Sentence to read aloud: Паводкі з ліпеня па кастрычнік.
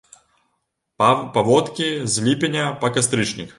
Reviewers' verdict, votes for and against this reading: rejected, 0, 2